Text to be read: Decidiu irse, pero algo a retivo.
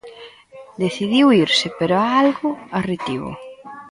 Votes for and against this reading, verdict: 0, 2, rejected